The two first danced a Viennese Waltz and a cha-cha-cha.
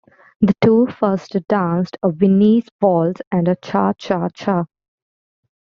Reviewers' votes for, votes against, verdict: 0, 2, rejected